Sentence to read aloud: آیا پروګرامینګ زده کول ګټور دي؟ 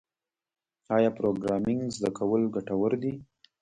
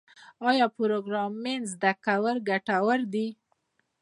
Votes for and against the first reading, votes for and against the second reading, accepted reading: 1, 2, 2, 0, second